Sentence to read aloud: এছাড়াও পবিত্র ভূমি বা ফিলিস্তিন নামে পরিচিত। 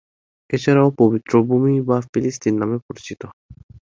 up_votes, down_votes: 3, 0